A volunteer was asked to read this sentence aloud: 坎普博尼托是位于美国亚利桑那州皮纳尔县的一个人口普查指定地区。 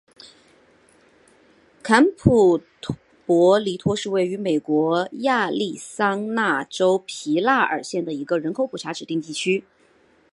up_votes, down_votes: 2, 1